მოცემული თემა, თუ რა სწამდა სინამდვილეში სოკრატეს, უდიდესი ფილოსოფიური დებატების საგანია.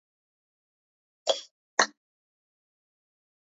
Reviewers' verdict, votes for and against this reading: rejected, 0, 2